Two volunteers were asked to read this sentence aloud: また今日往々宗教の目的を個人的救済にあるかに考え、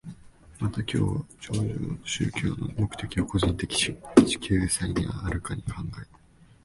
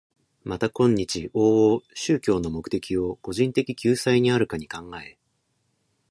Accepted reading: second